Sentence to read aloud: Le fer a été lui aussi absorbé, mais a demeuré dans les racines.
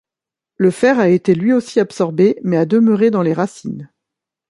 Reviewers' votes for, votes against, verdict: 2, 0, accepted